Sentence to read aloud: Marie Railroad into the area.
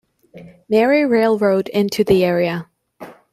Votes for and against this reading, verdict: 2, 0, accepted